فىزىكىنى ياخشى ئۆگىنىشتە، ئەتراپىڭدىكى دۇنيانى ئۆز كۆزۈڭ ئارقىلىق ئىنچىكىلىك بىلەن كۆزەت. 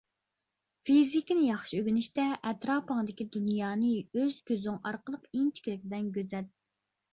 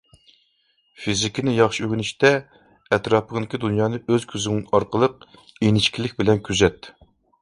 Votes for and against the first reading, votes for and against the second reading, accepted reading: 0, 2, 2, 0, second